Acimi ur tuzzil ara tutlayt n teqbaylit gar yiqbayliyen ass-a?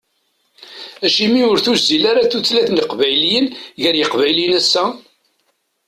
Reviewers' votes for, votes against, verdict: 0, 2, rejected